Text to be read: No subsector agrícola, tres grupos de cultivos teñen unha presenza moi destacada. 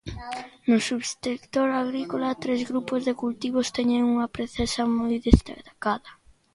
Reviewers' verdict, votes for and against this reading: rejected, 0, 2